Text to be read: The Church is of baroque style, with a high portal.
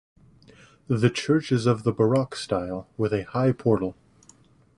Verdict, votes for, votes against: rejected, 1, 2